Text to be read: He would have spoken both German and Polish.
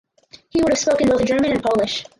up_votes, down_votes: 2, 4